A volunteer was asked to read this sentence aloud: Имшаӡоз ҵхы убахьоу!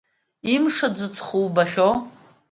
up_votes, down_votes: 2, 1